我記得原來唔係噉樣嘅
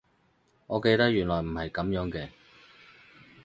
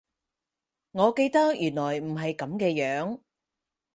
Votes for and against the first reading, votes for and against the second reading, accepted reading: 4, 0, 0, 4, first